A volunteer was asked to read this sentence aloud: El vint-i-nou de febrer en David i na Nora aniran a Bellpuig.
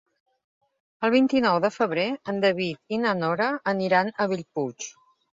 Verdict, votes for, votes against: accepted, 2, 0